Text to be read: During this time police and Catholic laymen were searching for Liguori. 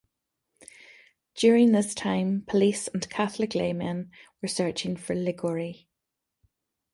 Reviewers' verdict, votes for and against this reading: rejected, 1, 2